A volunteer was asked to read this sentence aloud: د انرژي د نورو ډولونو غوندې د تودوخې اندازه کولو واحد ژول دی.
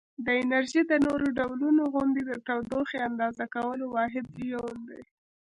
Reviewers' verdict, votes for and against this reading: rejected, 1, 2